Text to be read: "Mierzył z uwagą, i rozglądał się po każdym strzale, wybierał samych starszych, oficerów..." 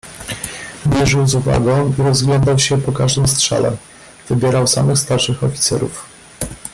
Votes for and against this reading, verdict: 1, 2, rejected